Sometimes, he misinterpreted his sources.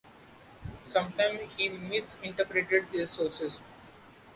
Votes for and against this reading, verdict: 1, 2, rejected